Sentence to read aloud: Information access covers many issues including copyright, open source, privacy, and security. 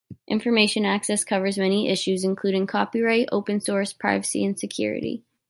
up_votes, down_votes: 2, 0